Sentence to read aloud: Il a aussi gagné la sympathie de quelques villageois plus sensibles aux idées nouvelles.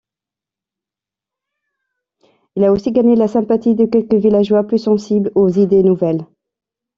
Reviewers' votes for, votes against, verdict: 2, 0, accepted